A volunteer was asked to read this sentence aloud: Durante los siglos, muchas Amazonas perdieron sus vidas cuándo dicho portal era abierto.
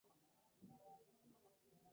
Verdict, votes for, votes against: rejected, 0, 2